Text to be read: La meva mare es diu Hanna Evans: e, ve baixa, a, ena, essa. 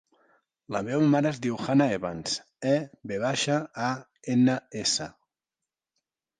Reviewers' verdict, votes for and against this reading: accepted, 2, 0